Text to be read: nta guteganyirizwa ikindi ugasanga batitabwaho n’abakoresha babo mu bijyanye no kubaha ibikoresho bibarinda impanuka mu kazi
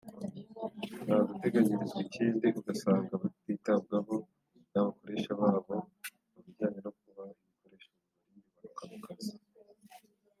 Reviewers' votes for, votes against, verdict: 1, 2, rejected